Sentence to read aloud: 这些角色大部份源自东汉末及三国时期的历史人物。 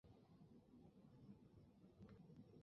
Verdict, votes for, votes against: rejected, 0, 2